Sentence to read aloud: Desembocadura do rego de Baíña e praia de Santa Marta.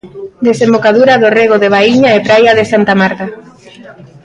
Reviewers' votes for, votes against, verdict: 2, 0, accepted